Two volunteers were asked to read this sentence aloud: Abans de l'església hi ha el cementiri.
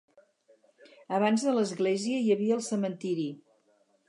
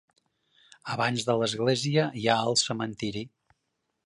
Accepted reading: second